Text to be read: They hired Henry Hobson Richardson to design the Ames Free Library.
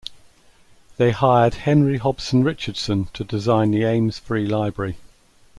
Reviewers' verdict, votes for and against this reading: accepted, 2, 0